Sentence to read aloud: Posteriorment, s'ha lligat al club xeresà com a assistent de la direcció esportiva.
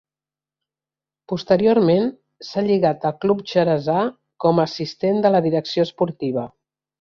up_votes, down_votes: 1, 2